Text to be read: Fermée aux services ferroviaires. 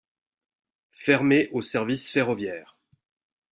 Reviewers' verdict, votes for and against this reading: accepted, 2, 0